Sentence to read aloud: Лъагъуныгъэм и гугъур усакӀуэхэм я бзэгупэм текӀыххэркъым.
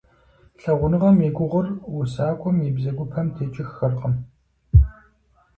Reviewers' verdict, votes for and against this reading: accepted, 4, 2